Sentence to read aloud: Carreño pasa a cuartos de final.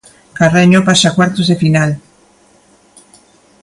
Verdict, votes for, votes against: accepted, 2, 0